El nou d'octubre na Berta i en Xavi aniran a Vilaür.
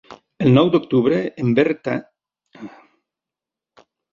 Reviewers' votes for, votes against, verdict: 1, 2, rejected